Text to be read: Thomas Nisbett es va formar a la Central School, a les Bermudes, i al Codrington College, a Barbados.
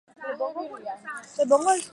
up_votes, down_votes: 0, 4